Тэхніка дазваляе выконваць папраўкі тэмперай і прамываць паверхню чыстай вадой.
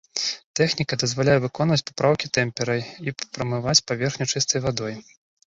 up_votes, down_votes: 2, 0